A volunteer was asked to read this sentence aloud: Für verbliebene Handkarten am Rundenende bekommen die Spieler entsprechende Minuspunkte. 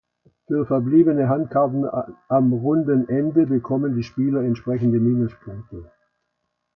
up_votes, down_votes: 2, 1